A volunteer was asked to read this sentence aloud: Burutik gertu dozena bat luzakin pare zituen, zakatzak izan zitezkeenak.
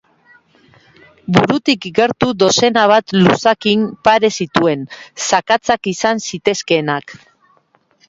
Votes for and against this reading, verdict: 2, 0, accepted